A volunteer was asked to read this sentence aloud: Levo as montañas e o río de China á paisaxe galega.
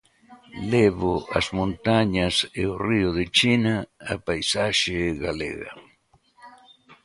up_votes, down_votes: 2, 0